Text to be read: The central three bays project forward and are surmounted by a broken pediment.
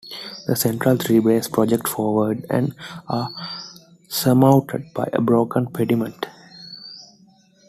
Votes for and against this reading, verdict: 2, 1, accepted